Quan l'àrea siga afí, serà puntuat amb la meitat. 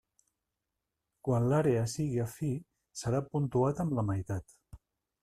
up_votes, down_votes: 0, 2